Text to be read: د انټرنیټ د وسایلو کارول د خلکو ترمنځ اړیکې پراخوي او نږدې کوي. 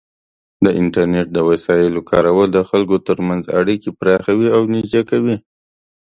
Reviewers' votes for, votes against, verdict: 2, 0, accepted